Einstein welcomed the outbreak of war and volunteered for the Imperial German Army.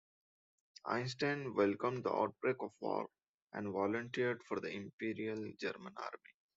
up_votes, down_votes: 2, 0